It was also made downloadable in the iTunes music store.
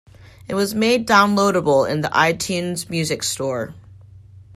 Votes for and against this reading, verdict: 1, 2, rejected